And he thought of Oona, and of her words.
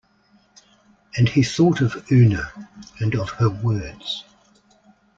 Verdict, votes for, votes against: rejected, 1, 2